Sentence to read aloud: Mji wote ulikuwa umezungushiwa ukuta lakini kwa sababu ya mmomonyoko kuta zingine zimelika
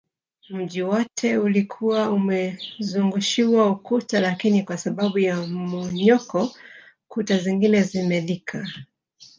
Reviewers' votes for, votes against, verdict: 1, 2, rejected